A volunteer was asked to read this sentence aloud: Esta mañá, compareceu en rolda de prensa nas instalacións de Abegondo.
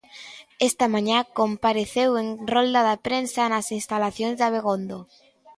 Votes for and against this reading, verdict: 0, 2, rejected